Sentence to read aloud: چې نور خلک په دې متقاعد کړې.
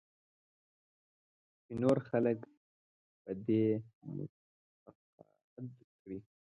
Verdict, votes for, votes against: rejected, 3, 4